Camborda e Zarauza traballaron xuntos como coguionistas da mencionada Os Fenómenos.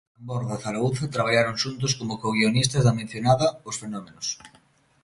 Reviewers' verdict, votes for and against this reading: rejected, 1, 2